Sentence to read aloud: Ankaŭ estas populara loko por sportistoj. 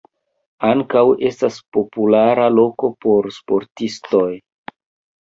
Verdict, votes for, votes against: accepted, 2, 1